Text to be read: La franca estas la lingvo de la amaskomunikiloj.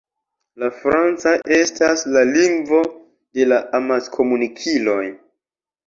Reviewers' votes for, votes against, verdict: 1, 2, rejected